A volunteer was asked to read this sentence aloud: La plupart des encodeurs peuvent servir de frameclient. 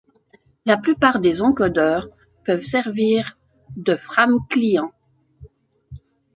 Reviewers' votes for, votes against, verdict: 0, 2, rejected